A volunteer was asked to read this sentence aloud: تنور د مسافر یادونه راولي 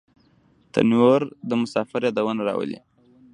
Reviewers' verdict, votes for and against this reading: rejected, 1, 2